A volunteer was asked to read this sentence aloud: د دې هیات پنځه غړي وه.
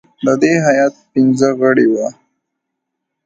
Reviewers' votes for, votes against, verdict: 2, 1, accepted